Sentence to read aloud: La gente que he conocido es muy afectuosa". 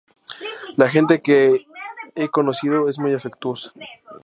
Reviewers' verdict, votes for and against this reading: accepted, 4, 0